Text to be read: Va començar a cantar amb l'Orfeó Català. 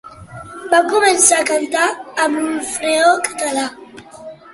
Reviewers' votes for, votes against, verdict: 1, 2, rejected